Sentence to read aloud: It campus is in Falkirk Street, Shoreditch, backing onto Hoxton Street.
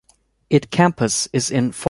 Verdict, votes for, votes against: rejected, 0, 2